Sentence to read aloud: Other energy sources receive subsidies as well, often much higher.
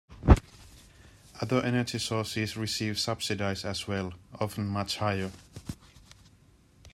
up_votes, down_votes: 1, 2